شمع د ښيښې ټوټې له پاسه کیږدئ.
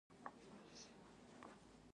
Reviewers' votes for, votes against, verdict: 1, 2, rejected